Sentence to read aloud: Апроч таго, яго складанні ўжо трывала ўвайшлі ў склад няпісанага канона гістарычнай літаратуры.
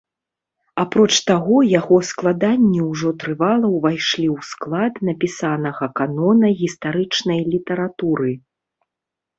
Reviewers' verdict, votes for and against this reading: rejected, 1, 2